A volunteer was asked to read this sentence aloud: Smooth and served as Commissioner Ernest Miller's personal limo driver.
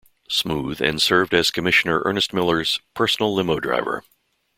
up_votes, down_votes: 3, 0